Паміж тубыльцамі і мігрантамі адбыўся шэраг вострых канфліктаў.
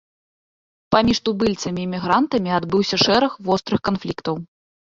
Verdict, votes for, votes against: accepted, 2, 0